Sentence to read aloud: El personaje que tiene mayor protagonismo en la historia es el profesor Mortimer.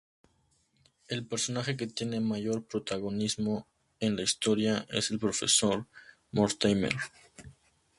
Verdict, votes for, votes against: accepted, 2, 0